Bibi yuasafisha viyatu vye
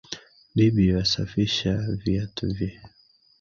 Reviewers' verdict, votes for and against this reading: accepted, 2, 1